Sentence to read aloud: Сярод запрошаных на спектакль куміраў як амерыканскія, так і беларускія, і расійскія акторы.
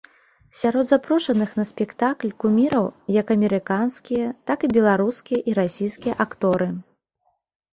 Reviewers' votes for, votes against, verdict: 2, 0, accepted